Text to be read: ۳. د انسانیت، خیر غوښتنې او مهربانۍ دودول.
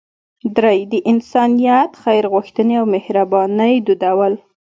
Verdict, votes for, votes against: rejected, 0, 2